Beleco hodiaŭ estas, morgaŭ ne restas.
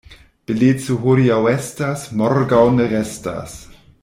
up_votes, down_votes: 0, 2